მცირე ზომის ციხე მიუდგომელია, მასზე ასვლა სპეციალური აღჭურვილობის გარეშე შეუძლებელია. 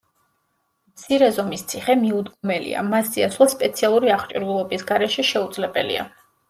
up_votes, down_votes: 2, 0